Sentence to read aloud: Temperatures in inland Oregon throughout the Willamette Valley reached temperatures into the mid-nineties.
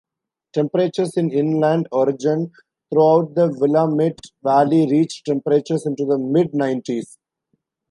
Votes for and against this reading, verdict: 2, 1, accepted